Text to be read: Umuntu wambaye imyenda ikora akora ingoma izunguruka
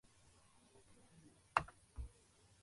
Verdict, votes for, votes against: rejected, 0, 2